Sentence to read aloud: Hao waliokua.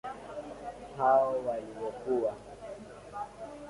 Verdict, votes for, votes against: accepted, 2, 1